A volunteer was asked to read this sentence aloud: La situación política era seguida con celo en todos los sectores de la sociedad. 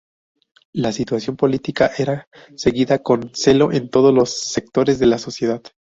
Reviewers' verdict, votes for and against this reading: rejected, 2, 2